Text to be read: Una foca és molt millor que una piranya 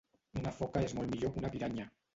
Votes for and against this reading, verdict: 0, 2, rejected